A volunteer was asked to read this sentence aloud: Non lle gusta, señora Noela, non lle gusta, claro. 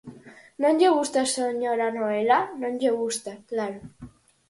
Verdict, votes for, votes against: accepted, 4, 0